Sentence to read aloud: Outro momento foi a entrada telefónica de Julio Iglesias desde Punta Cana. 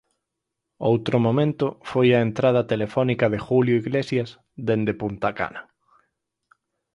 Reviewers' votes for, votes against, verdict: 2, 4, rejected